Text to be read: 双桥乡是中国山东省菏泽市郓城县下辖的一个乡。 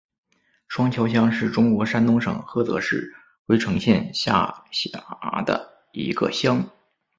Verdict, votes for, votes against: accepted, 4, 3